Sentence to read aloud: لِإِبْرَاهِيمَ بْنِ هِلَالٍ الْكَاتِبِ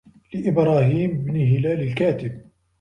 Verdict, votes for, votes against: accepted, 2, 1